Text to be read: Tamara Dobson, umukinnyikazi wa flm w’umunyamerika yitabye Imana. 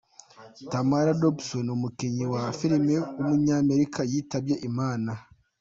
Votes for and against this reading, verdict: 2, 0, accepted